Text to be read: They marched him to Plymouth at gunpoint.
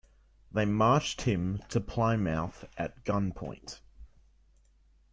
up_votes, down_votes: 3, 1